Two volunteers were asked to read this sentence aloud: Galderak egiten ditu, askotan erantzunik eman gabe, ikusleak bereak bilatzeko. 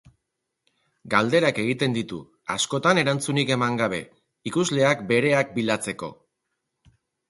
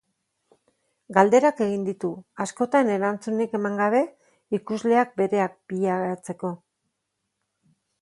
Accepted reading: first